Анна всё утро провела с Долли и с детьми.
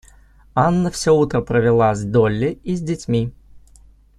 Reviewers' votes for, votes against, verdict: 2, 0, accepted